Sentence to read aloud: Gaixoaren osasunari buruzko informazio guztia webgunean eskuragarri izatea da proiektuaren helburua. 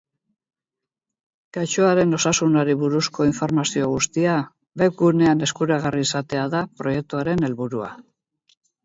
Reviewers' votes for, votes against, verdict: 6, 0, accepted